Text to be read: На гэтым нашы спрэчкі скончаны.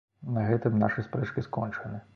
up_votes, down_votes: 2, 0